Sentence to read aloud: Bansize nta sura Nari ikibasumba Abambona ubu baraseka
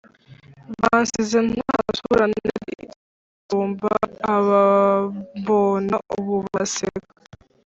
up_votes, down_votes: 1, 2